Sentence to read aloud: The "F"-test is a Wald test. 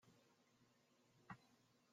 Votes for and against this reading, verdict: 0, 2, rejected